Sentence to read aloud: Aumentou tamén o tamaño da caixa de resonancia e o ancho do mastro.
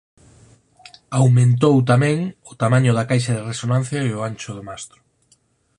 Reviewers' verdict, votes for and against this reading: accepted, 10, 2